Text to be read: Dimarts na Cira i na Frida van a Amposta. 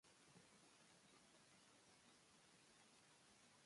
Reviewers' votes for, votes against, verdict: 1, 2, rejected